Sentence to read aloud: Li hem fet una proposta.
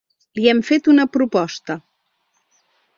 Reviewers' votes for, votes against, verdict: 3, 0, accepted